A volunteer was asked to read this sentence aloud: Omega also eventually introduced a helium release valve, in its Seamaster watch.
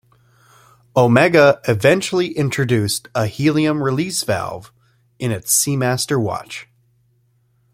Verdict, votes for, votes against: rejected, 1, 2